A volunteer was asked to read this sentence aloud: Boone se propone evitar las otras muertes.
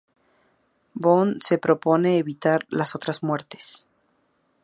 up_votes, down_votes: 2, 0